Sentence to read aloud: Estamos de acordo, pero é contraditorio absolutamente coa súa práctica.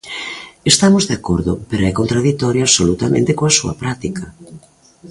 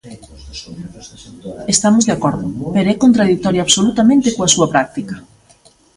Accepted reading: first